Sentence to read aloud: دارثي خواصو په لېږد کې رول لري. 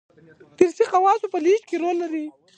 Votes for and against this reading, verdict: 2, 0, accepted